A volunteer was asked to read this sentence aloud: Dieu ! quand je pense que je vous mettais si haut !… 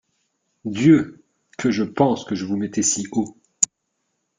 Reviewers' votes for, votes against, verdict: 1, 2, rejected